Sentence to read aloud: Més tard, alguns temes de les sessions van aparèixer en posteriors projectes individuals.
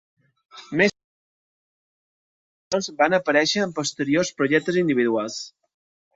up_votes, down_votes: 0, 2